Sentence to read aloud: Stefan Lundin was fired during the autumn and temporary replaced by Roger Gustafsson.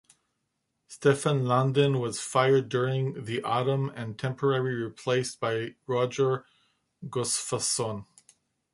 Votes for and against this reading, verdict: 2, 0, accepted